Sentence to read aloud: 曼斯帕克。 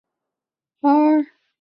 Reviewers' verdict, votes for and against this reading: rejected, 0, 2